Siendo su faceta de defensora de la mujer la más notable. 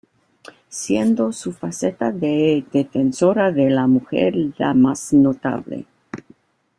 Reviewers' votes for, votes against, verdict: 2, 0, accepted